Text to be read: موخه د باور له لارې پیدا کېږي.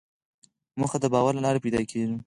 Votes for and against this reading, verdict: 2, 4, rejected